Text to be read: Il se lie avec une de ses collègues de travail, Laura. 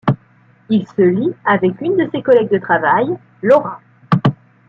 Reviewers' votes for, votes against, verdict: 2, 0, accepted